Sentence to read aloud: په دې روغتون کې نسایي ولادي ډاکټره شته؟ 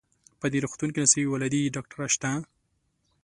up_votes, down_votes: 2, 0